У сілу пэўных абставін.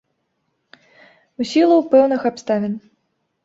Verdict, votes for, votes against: accepted, 2, 0